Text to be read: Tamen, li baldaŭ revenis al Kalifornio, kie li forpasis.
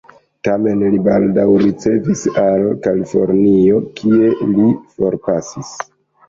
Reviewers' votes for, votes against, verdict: 0, 2, rejected